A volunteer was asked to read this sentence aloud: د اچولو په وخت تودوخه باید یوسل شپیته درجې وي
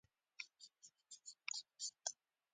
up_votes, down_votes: 0, 2